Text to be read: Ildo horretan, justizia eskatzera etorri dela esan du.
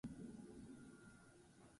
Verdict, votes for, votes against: rejected, 0, 4